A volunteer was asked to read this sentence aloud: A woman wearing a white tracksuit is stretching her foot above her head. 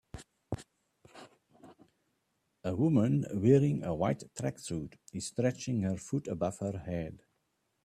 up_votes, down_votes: 2, 0